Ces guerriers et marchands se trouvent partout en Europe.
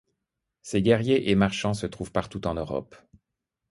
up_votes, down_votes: 2, 0